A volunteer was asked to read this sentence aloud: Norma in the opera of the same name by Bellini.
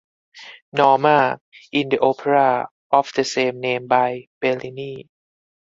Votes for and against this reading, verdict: 4, 0, accepted